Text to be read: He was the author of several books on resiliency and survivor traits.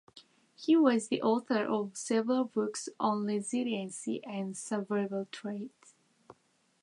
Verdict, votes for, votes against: rejected, 1, 2